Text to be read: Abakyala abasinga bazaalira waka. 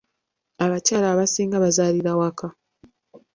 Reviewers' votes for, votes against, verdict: 2, 0, accepted